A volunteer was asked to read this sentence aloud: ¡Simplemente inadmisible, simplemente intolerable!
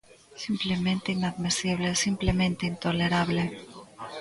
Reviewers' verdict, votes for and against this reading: rejected, 0, 2